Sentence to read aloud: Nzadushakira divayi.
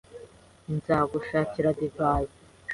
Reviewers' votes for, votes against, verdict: 2, 0, accepted